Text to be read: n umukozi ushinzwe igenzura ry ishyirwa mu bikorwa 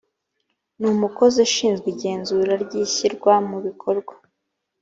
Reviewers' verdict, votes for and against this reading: accepted, 2, 0